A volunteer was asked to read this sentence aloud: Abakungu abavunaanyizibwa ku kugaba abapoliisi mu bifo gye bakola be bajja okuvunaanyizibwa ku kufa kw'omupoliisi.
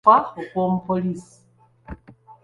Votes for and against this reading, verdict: 0, 3, rejected